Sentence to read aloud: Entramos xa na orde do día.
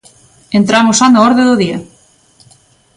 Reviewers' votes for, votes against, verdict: 2, 0, accepted